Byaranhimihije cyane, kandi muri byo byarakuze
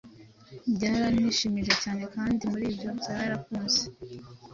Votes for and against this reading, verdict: 2, 0, accepted